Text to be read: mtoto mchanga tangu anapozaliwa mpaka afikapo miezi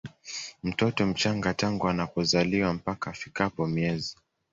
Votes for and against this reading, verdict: 2, 0, accepted